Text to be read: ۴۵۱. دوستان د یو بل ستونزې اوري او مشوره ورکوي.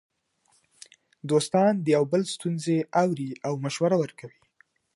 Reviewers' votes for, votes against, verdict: 0, 2, rejected